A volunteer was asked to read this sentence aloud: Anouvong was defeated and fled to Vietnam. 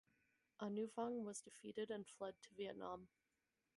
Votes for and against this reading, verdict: 4, 2, accepted